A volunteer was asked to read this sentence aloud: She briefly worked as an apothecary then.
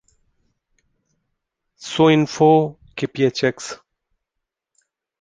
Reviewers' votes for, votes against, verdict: 0, 2, rejected